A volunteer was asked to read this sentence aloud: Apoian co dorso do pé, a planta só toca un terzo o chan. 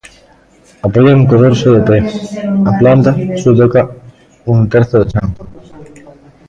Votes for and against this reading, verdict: 0, 2, rejected